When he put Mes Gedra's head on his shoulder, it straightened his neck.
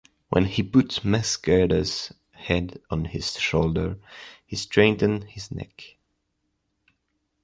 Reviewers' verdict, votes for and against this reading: rejected, 0, 2